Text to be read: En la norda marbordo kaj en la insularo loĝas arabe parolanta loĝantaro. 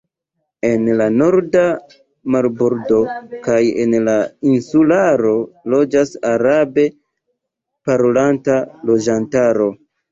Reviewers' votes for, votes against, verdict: 2, 0, accepted